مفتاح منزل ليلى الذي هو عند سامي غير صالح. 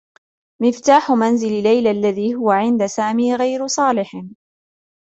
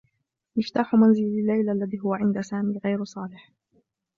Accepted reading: first